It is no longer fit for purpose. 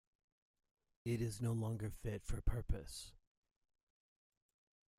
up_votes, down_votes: 1, 2